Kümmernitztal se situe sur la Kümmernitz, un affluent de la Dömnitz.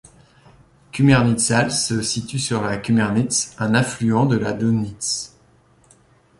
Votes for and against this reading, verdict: 2, 0, accepted